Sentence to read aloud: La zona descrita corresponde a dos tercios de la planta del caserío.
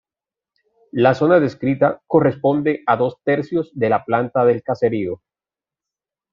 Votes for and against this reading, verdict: 2, 1, accepted